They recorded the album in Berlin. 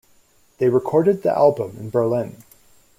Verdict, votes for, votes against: accepted, 2, 0